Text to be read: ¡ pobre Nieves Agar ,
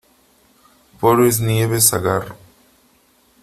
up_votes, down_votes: 1, 2